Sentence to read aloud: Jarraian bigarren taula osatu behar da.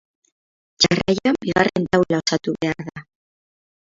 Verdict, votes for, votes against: rejected, 0, 6